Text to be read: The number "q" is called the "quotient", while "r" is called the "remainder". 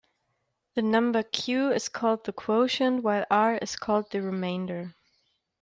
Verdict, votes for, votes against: rejected, 0, 2